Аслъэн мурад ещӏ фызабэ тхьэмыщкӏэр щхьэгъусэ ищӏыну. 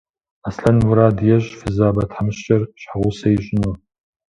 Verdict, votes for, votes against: accepted, 2, 0